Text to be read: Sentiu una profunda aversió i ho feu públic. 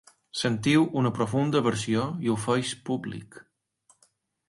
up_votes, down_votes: 0, 2